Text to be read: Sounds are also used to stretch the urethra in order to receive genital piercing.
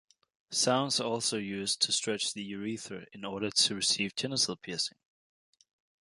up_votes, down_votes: 2, 0